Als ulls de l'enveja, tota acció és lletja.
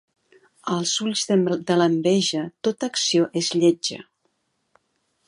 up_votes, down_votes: 1, 2